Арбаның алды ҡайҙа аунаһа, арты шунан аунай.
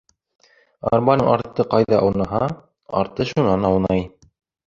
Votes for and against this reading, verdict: 1, 2, rejected